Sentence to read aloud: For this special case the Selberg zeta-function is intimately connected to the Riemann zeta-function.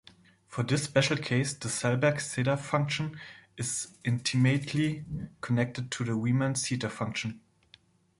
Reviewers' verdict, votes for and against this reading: rejected, 1, 2